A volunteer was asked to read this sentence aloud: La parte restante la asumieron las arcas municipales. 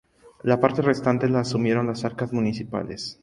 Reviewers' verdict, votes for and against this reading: accepted, 2, 0